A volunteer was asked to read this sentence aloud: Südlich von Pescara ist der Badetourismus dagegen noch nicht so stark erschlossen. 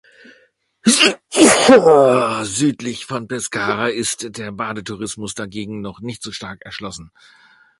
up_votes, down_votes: 2, 0